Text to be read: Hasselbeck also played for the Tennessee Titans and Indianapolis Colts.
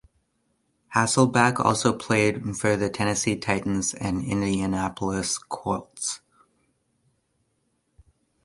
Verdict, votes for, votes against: accepted, 2, 0